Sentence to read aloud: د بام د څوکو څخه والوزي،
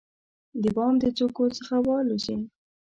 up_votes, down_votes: 2, 0